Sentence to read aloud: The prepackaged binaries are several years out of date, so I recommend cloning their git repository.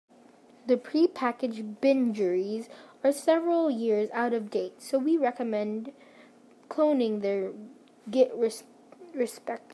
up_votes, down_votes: 0, 2